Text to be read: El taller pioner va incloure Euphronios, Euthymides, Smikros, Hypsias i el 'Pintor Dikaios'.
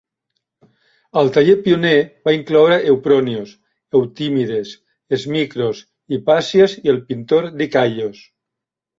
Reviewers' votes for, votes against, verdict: 0, 2, rejected